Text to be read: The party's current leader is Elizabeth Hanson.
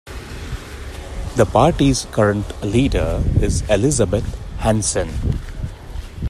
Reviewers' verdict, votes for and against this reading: accepted, 2, 0